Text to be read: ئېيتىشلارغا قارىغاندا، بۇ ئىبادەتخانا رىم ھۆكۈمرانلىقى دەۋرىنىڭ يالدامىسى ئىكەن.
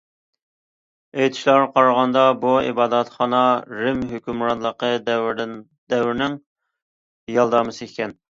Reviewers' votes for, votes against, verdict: 1, 2, rejected